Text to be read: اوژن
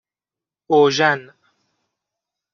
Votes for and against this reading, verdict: 2, 0, accepted